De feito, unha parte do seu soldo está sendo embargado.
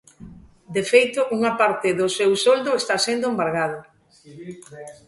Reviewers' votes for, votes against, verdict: 2, 0, accepted